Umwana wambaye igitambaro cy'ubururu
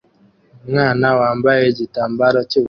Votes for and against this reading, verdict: 1, 2, rejected